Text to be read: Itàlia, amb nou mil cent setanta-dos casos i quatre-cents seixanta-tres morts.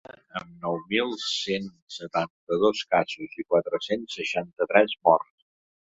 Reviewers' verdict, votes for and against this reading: rejected, 1, 4